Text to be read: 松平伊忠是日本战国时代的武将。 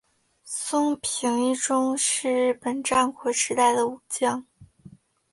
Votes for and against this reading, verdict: 2, 0, accepted